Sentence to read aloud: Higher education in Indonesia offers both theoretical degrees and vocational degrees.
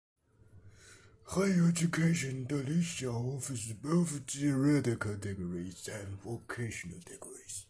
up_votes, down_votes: 2, 0